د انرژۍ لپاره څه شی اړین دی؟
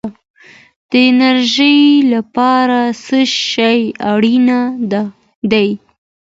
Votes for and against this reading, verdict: 2, 0, accepted